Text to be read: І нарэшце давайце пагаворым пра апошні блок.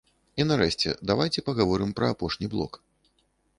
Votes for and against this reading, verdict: 1, 2, rejected